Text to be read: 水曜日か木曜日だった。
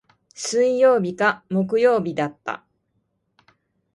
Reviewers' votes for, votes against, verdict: 1, 2, rejected